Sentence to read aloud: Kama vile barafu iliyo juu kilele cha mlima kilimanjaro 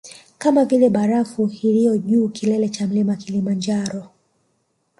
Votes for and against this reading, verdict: 2, 1, accepted